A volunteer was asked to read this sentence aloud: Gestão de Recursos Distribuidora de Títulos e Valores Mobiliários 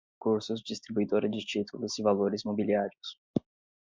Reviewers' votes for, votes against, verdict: 0, 2, rejected